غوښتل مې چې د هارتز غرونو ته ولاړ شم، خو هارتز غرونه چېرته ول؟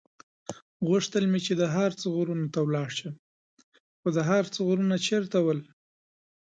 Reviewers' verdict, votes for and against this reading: rejected, 1, 2